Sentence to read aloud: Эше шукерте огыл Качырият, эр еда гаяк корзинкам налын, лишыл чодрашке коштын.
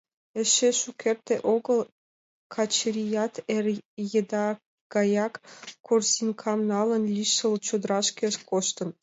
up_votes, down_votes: 2, 0